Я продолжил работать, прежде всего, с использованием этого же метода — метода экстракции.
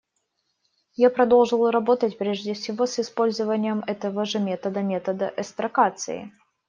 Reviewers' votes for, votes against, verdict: 1, 2, rejected